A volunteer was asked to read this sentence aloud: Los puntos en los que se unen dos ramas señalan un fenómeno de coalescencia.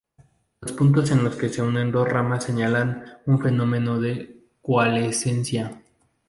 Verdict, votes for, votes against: rejected, 0, 2